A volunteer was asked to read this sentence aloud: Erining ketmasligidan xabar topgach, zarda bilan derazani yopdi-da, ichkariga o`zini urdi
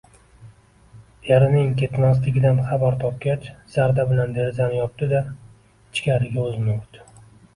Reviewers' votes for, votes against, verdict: 2, 0, accepted